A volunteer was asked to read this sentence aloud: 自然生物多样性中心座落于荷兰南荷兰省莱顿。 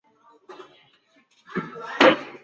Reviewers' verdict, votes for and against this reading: rejected, 1, 3